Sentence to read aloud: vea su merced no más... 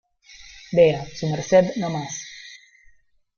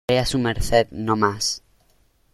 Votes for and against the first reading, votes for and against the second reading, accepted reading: 0, 2, 2, 0, second